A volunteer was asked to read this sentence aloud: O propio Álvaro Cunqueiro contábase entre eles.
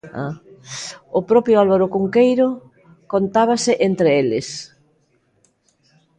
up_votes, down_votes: 0, 2